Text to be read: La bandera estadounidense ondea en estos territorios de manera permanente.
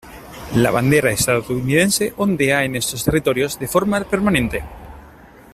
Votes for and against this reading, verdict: 1, 2, rejected